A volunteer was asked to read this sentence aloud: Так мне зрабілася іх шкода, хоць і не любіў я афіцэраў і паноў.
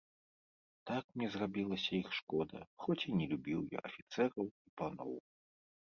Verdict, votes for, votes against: accepted, 2, 0